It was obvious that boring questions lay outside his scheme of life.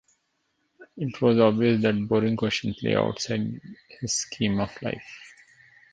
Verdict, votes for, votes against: accepted, 2, 0